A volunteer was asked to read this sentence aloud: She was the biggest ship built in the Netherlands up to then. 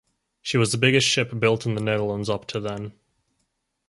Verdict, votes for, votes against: accepted, 4, 0